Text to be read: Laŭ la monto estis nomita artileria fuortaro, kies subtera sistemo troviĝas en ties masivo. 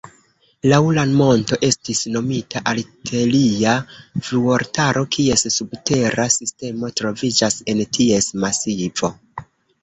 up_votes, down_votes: 2, 0